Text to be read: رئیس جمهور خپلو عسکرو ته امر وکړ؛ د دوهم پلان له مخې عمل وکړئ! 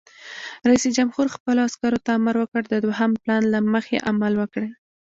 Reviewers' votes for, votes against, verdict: 2, 0, accepted